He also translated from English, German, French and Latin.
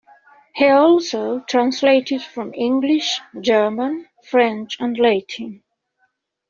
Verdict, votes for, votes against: accepted, 2, 0